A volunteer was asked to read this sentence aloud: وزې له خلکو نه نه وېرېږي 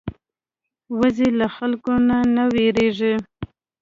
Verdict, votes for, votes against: accepted, 2, 0